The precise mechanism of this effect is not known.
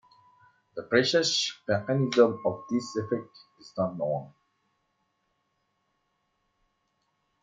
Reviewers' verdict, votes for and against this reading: rejected, 1, 2